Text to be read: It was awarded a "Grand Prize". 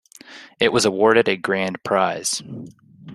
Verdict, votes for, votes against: accepted, 2, 0